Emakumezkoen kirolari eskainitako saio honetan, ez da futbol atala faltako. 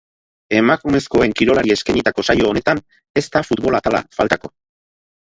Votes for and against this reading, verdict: 2, 4, rejected